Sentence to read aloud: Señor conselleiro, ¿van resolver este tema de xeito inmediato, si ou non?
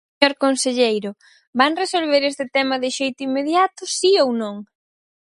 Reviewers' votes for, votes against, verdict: 2, 4, rejected